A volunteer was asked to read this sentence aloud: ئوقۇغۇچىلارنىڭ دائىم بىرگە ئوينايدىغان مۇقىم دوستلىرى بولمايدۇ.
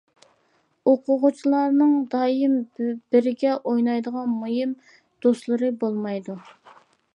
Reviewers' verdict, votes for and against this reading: rejected, 0, 2